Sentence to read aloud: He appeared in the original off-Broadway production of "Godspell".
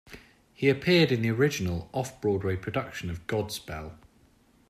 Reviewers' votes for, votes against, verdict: 2, 1, accepted